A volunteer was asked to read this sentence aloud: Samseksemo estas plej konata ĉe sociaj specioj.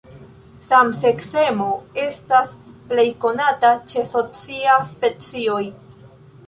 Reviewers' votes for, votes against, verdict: 1, 2, rejected